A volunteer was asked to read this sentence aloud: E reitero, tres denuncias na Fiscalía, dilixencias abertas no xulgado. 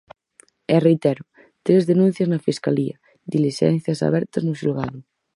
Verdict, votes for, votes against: accepted, 4, 0